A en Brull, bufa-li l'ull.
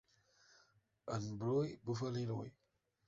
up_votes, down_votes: 1, 2